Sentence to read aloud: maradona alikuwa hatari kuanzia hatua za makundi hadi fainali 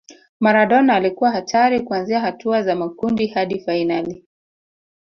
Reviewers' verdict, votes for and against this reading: rejected, 1, 2